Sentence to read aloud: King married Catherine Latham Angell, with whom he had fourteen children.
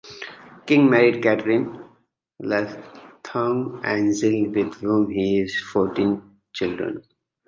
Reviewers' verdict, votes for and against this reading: rejected, 1, 2